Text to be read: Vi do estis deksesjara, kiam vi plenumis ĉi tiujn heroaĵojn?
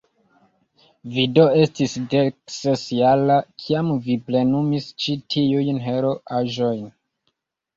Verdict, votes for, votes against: rejected, 0, 2